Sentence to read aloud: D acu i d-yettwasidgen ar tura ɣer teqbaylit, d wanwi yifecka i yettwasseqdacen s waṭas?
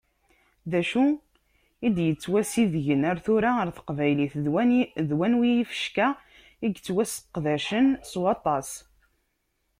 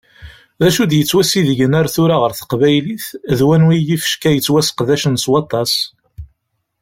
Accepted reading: second